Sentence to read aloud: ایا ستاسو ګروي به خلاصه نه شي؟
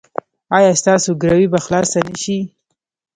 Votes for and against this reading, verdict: 1, 2, rejected